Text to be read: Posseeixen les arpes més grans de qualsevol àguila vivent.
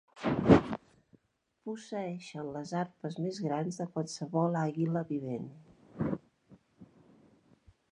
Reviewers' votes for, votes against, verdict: 0, 2, rejected